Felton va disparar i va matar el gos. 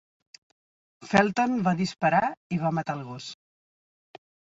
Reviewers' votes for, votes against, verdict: 3, 1, accepted